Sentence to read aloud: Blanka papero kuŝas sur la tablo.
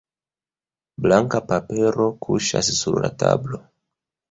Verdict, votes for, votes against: rejected, 1, 2